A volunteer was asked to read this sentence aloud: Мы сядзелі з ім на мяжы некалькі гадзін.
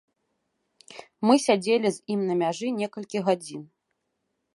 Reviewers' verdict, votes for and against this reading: accepted, 3, 0